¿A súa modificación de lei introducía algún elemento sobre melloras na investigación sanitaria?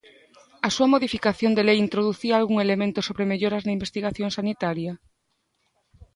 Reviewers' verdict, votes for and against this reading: accepted, 2, 0